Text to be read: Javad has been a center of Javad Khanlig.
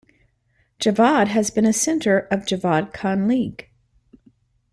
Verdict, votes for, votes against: accepted, 2, 0